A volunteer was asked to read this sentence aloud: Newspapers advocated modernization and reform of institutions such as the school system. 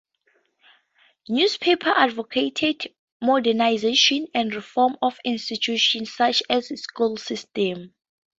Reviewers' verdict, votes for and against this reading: accepted, 2, 0